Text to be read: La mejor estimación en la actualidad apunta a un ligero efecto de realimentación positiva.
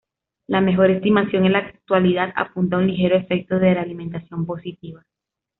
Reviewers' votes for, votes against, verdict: 2, 0, accepted